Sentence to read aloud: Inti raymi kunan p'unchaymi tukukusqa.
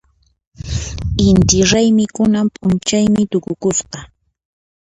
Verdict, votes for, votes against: accepted, 2, 0